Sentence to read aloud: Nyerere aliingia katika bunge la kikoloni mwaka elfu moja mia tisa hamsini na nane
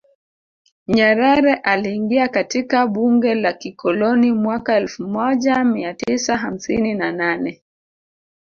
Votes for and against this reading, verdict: 2, 1, accepted